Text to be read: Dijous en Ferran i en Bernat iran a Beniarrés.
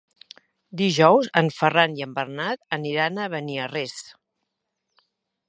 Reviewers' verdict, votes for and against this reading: rejected, 0, 2